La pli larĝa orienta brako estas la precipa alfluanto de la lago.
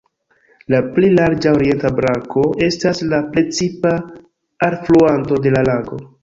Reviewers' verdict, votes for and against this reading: rejected, 0, 2